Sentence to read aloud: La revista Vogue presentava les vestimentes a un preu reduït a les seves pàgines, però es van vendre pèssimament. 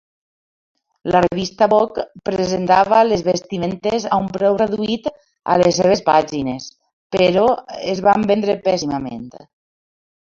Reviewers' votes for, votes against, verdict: 1, 2, rejected